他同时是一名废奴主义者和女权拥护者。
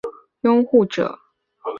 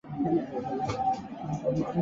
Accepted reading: second